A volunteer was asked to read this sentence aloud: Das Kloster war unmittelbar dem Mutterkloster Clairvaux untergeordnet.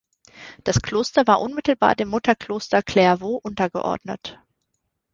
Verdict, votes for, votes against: accepted, 2, 0